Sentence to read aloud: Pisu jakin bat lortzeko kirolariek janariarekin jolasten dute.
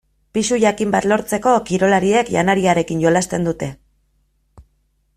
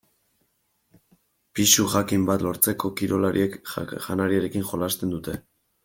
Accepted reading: first